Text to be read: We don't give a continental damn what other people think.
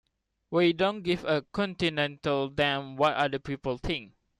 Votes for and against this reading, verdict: 2, 0, accepted